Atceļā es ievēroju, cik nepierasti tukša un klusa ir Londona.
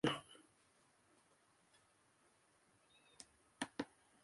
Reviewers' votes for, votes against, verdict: 0, 2, rejected